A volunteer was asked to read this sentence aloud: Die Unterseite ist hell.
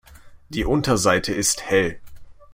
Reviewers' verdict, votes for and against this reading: accepted, 2, 0